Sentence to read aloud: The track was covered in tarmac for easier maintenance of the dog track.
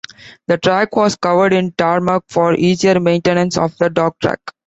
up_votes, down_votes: 2, 0